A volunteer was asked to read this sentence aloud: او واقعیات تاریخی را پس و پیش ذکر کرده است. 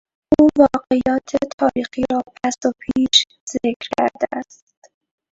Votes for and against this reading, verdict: 0, 2, rejected